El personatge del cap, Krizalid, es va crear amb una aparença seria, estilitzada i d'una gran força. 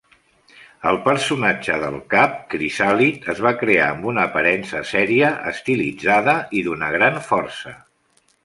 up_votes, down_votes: 2, 0